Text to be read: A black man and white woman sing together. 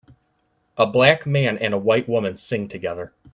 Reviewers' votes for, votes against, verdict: 1, 2, rejected